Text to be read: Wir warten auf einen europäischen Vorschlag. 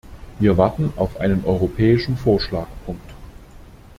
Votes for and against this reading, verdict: 0, 2, rejected